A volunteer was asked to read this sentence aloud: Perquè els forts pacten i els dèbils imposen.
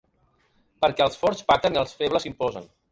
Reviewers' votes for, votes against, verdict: 0, 2, rejected